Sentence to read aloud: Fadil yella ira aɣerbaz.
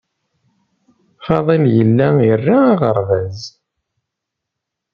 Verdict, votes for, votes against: rejected, 1, 2